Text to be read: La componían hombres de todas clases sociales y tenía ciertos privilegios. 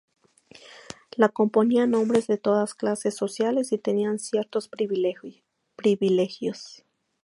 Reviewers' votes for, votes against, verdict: 0, 2, rejected